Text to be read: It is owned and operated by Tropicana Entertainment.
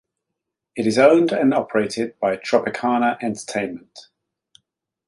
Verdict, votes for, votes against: accepted, 2, 0